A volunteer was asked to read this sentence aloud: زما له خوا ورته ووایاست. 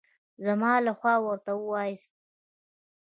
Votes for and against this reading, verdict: 0, 2, rejected